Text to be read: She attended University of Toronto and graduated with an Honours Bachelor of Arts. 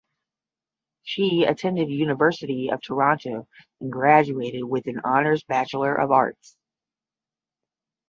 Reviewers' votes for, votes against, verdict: 10, 0, accepted